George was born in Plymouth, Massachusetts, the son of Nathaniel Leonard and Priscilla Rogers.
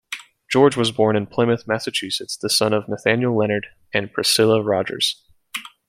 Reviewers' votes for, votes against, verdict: 2, 1, accepted